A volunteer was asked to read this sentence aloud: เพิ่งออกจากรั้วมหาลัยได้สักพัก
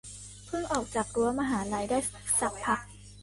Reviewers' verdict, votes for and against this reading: rejected, 0, 2